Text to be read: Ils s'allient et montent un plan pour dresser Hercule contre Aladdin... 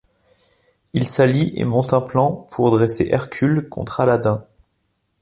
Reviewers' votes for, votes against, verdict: 2, 0, accepted